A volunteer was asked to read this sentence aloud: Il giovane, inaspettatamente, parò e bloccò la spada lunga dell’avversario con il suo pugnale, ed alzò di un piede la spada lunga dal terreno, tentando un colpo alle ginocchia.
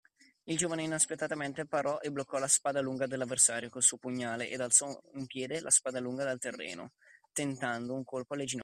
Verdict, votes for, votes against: rejected, 0, 2